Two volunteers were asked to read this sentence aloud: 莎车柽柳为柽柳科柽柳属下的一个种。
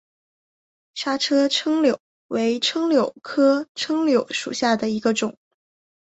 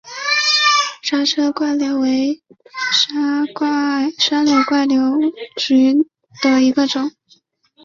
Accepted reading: first